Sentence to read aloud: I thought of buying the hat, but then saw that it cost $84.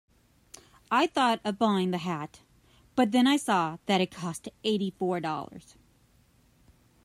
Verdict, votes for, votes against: rejected, 0, 2